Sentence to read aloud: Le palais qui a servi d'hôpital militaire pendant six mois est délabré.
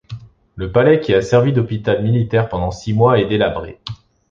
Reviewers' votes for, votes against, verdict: 2, 0, accepted